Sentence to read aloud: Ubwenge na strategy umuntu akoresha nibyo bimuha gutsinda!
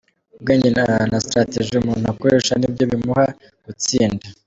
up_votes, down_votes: 1, 2